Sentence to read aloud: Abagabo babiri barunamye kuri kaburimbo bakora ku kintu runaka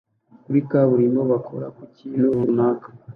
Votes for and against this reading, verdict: 0, 2, rejected